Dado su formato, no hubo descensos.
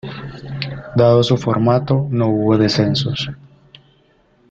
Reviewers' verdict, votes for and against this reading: accepted, 2, 0